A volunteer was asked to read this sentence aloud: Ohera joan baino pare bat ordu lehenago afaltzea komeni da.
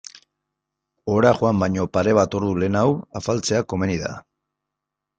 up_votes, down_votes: 2, 0